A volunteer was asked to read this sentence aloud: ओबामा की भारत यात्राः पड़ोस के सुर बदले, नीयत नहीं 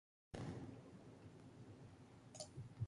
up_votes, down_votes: 0, 2